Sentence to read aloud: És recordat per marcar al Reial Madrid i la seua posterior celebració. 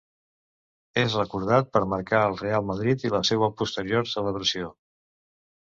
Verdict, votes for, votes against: rejected, 0, 2